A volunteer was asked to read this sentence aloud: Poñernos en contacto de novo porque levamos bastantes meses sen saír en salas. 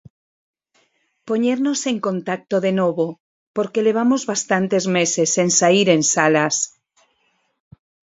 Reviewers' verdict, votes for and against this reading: accepted, 4, 0